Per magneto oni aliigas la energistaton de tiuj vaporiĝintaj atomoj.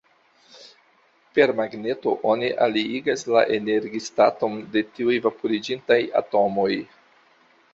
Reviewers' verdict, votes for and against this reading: accepted, 2, 0